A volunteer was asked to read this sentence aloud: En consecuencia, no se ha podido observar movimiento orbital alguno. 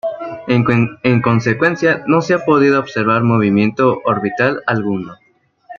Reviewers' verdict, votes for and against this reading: rejected, 0, 2